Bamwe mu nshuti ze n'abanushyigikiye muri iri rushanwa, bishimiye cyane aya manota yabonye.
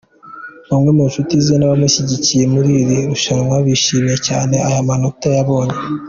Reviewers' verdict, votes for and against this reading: accepted, 2, 0